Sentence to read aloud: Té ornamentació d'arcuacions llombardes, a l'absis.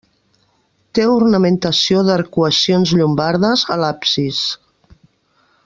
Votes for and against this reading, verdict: 2, 0, accepted